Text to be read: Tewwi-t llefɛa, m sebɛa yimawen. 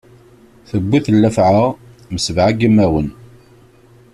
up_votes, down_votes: 2, 0